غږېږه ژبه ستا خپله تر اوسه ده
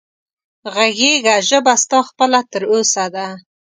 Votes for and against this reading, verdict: 2, 0, accepted